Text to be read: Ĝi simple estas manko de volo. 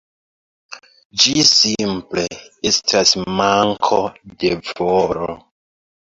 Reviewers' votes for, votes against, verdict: 2, 1, accepted